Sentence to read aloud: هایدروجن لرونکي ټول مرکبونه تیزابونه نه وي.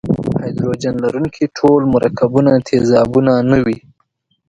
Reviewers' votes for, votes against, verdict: 2, 0, accepted